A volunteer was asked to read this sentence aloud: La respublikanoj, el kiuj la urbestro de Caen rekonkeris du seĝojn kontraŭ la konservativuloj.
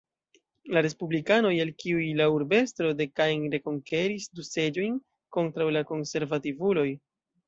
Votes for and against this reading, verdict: 0, 2, rejected